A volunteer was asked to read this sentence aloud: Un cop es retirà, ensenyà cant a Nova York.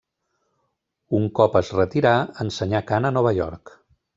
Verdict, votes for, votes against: accepted, 2, 0